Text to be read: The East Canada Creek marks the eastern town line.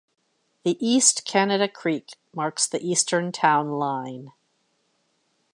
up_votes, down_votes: 1, 2